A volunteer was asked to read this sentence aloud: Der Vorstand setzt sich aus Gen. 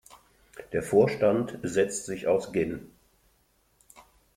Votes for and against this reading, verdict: 2, 1, accepted